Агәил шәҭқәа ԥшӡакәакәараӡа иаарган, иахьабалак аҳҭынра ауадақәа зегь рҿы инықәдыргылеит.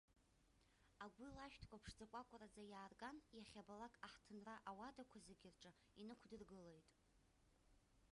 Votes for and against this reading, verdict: 0, 2, rejected